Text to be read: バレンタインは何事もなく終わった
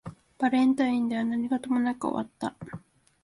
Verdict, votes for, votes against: rejected, 0, 2